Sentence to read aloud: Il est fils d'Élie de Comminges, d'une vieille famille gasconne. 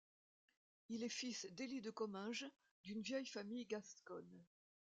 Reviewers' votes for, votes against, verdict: 1, 2, rejected